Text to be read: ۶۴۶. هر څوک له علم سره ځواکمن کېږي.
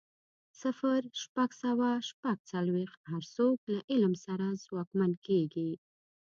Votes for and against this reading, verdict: 0, 2, rejected